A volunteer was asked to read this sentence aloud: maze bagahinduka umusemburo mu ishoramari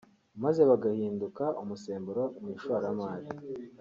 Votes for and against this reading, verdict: 2, 0, accepted